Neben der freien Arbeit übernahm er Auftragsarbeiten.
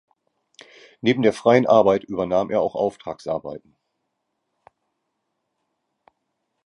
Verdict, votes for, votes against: rejected, 0, 2